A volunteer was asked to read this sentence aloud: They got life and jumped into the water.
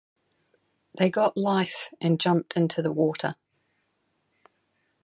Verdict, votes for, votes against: accepted, 6, 0